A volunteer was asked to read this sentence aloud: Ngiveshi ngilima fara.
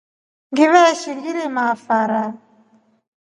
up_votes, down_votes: 2, 0